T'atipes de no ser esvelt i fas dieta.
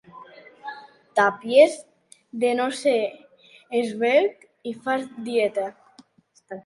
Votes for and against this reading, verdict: 0, 2, rejected